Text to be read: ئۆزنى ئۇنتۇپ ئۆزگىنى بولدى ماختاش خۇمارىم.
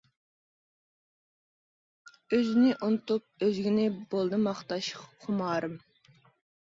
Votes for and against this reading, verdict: 2, 0, accepted